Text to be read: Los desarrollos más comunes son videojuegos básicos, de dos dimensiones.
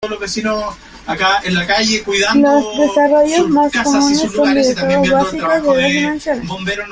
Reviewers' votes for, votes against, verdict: 1, 2, rejected